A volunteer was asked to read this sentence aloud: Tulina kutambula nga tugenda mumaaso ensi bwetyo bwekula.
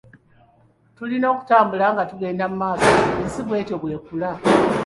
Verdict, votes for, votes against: rejected, 1, 2